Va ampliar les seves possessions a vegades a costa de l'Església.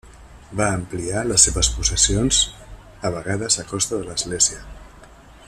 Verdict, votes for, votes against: accepted, 3, 0